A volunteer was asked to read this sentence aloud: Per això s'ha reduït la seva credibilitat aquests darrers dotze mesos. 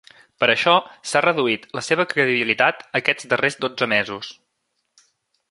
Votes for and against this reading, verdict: 3, 0, accepted